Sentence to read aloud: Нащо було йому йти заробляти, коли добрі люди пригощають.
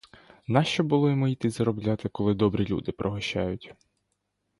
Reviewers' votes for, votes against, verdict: 2, 0, accepted